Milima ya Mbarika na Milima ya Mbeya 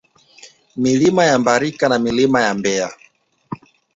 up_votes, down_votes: 1, 2